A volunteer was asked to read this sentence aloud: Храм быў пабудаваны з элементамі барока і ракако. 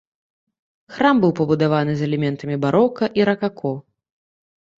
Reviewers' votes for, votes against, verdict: 2, 0, accepted